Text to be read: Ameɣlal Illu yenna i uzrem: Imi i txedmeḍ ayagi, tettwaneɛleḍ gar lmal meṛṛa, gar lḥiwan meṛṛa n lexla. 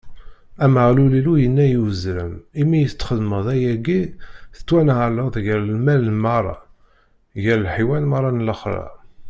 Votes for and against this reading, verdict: 2, 0, accepted